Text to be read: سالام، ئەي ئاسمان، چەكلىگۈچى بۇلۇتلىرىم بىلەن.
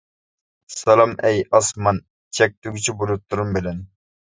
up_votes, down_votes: 1, 2